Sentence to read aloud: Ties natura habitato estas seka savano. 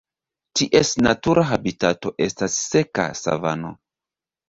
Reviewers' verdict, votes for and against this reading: accepted, 3, 0